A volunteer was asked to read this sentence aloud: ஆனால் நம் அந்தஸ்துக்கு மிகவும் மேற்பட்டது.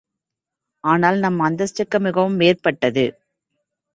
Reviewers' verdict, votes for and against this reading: accepted, 2, 0